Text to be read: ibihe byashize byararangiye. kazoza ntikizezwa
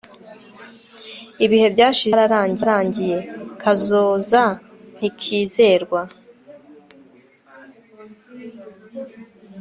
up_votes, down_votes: 2, 1